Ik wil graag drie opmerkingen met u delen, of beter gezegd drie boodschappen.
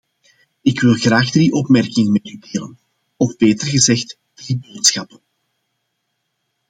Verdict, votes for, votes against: rejected, 1, 2